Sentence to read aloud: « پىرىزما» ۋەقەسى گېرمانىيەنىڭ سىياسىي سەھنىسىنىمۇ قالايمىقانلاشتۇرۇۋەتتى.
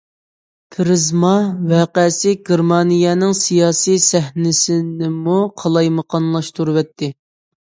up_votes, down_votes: 2, 0